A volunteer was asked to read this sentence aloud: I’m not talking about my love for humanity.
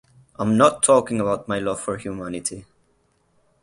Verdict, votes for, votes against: accepted, 8, 0